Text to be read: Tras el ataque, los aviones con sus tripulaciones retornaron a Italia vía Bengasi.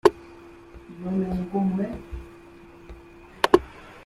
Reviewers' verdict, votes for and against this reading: rejected, 1, 2